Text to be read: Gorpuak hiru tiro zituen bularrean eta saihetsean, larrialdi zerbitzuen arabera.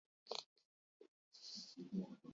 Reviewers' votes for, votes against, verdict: 0, 6, rejected